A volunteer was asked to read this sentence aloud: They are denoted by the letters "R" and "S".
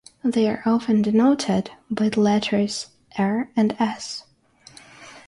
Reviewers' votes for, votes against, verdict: 3, 6, rejected